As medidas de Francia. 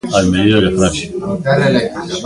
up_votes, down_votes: 0, 2